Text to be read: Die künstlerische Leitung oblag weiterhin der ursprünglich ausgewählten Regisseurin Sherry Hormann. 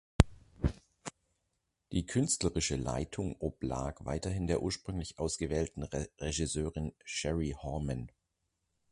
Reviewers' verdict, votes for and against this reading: rejected, 0, 2